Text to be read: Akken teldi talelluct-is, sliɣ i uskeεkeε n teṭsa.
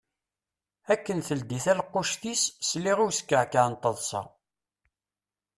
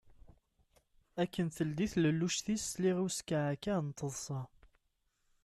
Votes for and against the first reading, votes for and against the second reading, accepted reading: 0, 2, 2, 0, second